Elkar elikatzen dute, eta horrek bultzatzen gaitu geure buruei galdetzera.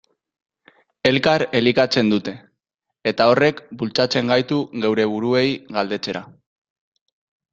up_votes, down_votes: 1, 3